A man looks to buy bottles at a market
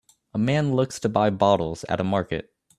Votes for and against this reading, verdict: 2, 0, accepted